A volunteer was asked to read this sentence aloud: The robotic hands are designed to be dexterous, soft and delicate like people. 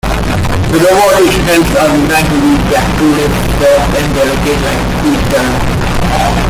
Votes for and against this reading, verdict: 0, 2, rejected